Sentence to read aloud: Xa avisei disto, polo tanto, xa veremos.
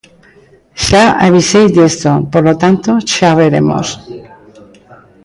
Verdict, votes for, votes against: accepted, 2, 0